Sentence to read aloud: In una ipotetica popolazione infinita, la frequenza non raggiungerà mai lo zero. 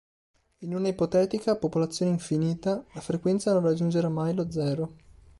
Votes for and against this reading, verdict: 2, 0, accepted